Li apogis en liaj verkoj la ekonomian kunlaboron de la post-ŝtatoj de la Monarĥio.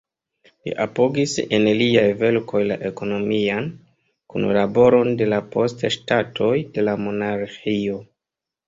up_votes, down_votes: 1, 2